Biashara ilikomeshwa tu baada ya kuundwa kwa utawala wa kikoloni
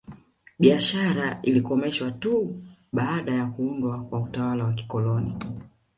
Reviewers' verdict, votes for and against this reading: accepted, 2, 0